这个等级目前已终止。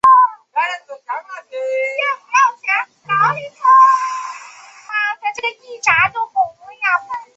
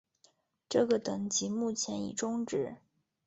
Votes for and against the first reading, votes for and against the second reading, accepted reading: 0, 2, 2, 0, second